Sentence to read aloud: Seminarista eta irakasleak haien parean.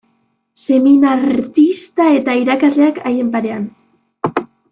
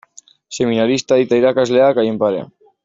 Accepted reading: second